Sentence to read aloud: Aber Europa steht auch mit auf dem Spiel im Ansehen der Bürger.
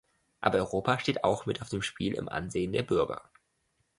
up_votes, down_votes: 2, 0